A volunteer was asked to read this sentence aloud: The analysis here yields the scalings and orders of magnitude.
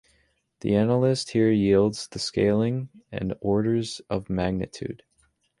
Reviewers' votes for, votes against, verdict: 0, 2, rejected